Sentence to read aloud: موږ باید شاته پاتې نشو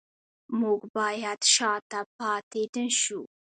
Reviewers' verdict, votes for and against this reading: rejected, 0, 2